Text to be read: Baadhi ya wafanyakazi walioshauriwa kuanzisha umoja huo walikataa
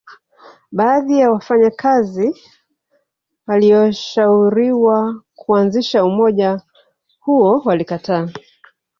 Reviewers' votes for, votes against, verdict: 1, 2, rejected